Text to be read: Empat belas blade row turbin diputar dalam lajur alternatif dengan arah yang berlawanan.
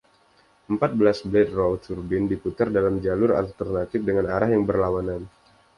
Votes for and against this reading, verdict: 1, 2, rejected